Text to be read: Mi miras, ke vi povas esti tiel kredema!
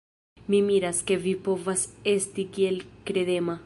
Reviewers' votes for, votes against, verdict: 1, 2, rejected